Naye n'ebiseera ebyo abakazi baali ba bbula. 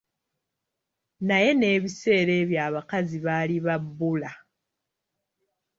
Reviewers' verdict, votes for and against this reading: accepted, 2, 0